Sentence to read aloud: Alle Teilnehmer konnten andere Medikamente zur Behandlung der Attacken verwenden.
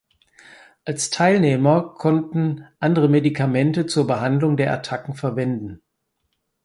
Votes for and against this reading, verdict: 0, 4, rejected